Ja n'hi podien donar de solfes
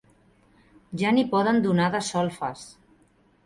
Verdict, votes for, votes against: accepted, 2, 0